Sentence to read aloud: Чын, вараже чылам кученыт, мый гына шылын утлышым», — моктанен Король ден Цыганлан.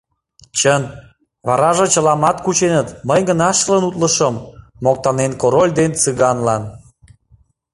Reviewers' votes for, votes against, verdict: 0, 2, rejected